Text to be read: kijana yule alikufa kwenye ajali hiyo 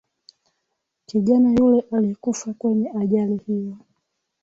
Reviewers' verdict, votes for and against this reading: accepted, 2, 0